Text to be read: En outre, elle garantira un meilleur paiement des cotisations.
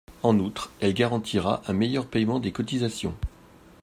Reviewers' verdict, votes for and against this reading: accepted, 2, 0